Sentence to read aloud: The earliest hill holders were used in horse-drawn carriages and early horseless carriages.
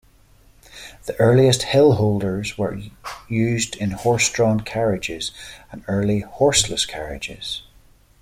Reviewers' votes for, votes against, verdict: 2, 0, accepted